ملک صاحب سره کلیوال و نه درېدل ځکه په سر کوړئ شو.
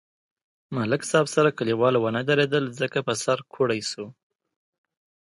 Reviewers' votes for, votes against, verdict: 2, 0, accepted